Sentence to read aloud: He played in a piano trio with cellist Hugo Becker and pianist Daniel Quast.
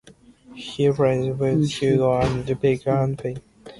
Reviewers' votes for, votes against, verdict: 1, 2, rejected